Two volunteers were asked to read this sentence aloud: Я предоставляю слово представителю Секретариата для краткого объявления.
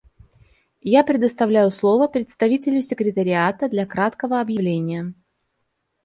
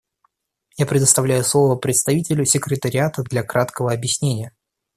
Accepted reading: first